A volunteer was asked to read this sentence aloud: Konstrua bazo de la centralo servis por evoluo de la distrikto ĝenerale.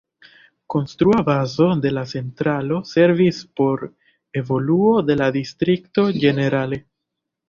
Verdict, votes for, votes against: accepted, 2, 0